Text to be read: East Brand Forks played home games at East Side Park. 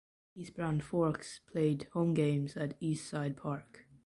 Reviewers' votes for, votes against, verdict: 2, 0, accepted